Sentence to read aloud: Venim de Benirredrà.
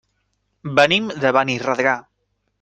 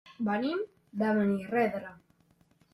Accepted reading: first